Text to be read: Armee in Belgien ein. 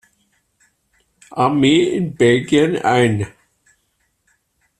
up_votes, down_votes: 2, 0